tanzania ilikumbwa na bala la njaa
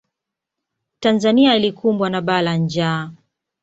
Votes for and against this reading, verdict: 2, 0, accepted